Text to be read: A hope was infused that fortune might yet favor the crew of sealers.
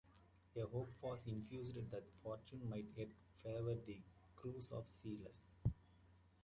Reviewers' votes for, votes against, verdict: 0, 2, rejected